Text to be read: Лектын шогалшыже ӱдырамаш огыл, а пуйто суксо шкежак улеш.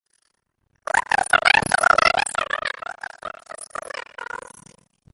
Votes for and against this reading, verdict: 0, 2, rejected